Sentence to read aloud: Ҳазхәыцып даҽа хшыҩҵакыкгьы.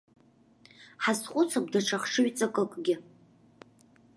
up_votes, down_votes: 2, 0